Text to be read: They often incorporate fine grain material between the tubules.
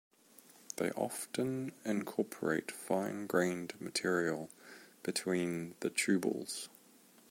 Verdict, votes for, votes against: rejected, 0, 2